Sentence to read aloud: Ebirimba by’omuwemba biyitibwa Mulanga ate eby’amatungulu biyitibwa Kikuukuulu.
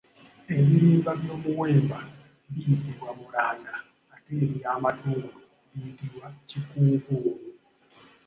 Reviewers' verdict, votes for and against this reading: accepted, 2, 0